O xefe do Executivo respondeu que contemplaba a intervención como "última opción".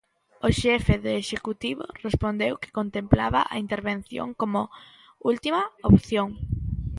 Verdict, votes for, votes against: rejected, 0, 2